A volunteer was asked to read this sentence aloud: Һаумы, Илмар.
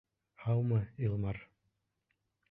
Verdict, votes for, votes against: rejected, 1, 2